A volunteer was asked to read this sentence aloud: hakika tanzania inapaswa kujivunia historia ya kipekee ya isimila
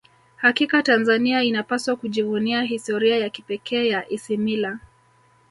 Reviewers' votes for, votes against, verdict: 1, 2, rejected